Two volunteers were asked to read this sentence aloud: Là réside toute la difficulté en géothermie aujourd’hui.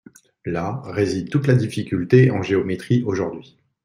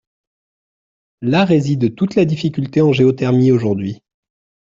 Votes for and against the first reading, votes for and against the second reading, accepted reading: 1, 2, 2, 0, second